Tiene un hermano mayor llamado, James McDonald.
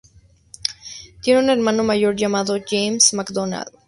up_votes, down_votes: 4, 0